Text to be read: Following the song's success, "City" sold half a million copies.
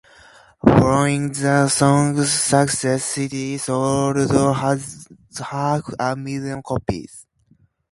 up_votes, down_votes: 0, 2